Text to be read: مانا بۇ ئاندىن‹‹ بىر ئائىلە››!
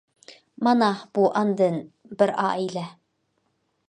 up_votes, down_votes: 1, 2